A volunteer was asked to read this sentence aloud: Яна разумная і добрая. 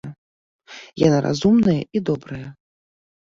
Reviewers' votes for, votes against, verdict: 2, 1, accepted